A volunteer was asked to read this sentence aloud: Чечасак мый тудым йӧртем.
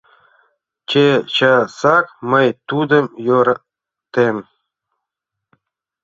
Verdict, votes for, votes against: rejected, 0, 2